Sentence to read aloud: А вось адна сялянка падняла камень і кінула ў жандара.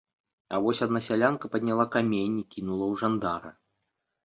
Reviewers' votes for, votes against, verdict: 2, 0, accepted